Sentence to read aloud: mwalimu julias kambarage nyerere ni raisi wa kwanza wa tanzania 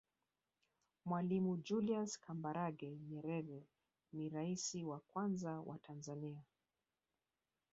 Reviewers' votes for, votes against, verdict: 2, 0, accepted